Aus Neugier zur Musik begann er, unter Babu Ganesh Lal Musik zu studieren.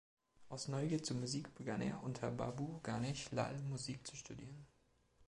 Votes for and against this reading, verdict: 2, 0, accepted